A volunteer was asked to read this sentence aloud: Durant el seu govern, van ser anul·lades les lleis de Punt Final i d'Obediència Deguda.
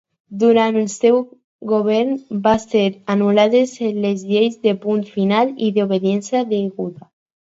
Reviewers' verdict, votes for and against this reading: rejected, 2, 2